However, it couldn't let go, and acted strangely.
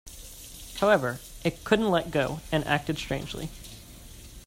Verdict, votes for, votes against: accepted, 2, 0